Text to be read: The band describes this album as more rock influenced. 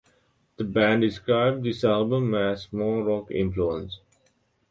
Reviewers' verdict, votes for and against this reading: accepted, 2, 1